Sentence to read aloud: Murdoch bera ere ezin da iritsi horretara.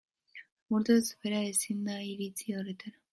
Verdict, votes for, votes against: rejected, 0, 3